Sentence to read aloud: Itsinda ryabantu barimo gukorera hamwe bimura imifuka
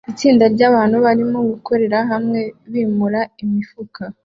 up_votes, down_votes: 2, 0